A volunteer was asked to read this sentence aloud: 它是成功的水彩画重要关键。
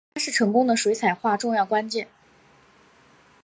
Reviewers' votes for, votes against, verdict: 2, 0, accepted